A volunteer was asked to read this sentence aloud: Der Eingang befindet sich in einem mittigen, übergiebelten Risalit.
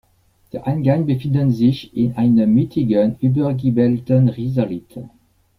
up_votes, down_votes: 1, 2